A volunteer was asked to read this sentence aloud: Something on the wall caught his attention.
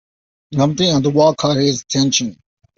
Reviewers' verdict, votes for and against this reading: rejected, 0, 2